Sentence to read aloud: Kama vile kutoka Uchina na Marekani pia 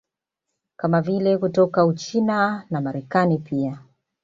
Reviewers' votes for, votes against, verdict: 2, 0, accepted